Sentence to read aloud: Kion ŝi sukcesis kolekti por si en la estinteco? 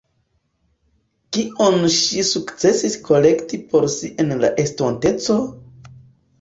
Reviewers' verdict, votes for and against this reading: rejected, 1, 2